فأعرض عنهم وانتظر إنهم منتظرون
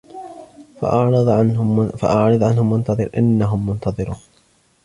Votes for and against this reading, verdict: 2, 0, accepted